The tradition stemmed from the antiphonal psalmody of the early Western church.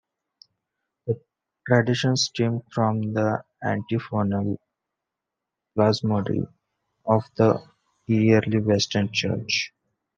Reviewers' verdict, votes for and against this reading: rejected, 1, 2